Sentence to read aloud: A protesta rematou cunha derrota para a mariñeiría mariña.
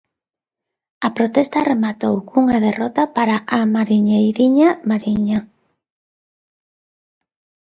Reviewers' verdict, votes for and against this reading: rejected, 0, 2